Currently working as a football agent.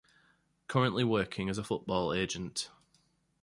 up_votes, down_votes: 2, 0